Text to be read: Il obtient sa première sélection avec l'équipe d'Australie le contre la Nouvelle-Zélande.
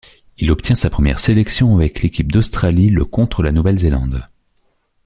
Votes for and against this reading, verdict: 2, 0, accepted